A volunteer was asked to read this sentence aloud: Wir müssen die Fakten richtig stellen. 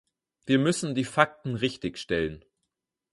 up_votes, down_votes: 4, 0